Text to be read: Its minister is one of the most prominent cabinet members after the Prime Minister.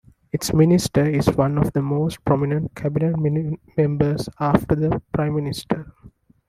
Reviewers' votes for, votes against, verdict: 1, 2, rejected